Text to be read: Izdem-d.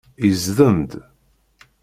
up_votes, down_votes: 2, 0